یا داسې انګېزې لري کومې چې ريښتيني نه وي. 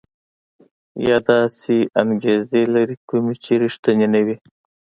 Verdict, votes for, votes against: accepted, 2, 0